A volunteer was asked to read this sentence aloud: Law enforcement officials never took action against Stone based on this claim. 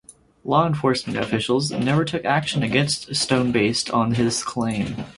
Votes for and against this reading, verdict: 0, 4, rejected